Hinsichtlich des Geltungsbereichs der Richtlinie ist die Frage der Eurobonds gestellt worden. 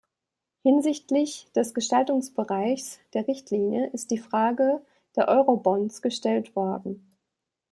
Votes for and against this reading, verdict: 0, 2, rejected